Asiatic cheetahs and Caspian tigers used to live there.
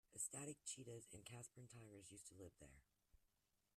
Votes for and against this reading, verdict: 1, 2, rejected